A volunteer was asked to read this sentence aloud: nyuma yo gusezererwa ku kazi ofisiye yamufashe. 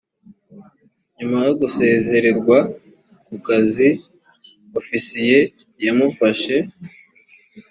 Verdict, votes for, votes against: accepted, 3, 1